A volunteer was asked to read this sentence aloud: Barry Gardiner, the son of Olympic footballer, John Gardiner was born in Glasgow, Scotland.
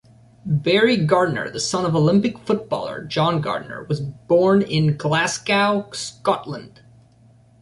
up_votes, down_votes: 2, 0